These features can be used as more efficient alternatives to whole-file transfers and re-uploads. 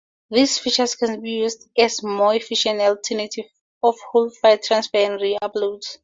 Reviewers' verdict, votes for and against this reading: rejected, 0, 4